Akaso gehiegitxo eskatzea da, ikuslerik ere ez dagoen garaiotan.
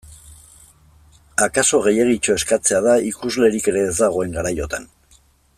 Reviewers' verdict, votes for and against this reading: accepted, 2, 0